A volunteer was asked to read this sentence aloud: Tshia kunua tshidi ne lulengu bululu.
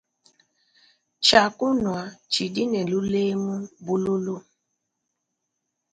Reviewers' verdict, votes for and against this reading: accepted, 2, 0